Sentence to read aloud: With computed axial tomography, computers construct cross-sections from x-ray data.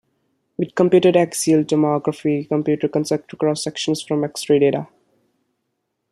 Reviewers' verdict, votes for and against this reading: rejected, 1, 2